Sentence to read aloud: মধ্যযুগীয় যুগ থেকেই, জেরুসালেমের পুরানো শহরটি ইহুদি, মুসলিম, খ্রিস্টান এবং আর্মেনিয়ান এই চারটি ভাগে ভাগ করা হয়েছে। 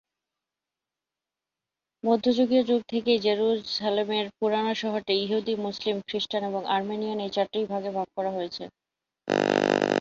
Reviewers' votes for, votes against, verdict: 8, 2, accepted